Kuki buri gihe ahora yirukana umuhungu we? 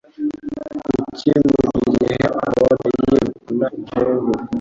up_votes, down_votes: 1, 2